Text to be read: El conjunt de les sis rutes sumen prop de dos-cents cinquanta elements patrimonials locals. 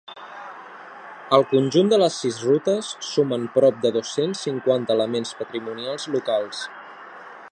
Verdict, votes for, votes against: accepted, 2, 0